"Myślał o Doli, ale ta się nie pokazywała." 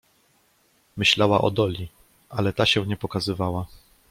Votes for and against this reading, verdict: 1, 2, rejected